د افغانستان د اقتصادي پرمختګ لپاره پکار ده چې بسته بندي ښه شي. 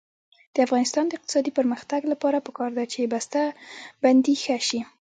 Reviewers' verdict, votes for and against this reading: rejected, 0, 2